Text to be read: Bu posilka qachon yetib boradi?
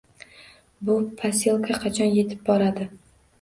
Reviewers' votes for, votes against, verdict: 2, 0, accepted